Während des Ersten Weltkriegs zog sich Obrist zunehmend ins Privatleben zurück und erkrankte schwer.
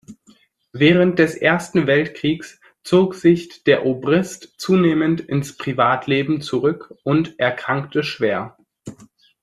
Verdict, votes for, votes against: rejected, 1, 2